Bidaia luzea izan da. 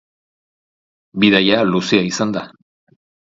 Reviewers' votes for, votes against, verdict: 2, 0, accepted